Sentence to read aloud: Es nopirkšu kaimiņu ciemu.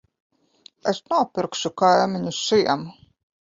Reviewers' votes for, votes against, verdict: 1, 2, rejected